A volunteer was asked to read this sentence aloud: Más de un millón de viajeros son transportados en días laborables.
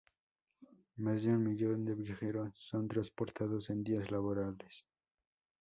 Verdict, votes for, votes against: accepted, 2, 0